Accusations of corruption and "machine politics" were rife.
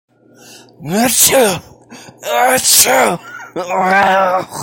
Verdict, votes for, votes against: rejected, 0, 2